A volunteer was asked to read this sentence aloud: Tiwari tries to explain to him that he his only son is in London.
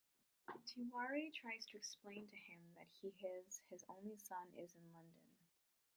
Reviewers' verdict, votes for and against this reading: rejected, 1, 2